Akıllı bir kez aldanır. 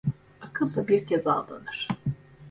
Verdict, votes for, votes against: rejected, 1, 2